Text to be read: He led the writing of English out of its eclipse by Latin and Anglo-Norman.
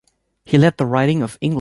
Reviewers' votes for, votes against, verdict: 1, 2, rejected